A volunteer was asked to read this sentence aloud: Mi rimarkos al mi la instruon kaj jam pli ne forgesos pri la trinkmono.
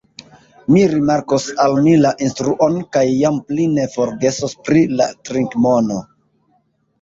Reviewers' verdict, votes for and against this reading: rejected, 2, 2